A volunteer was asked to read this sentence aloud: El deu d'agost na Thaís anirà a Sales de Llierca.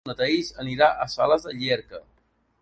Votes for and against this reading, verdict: 0, 2, rejected